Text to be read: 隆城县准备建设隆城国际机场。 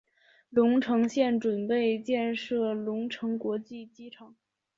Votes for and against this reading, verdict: 3, 0, accepted